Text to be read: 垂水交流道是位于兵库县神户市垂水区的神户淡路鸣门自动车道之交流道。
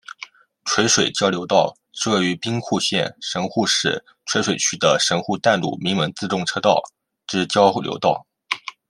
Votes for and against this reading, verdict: 2, 0, accepted